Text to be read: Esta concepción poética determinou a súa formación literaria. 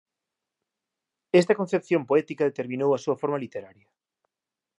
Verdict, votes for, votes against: rejected, 0, 2